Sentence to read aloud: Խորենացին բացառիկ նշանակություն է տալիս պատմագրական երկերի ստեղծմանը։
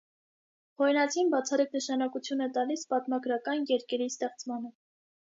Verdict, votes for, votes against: accepted, 2, 0